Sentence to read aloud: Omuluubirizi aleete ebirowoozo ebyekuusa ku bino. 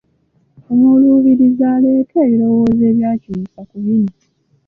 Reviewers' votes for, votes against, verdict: 1, 2, rejected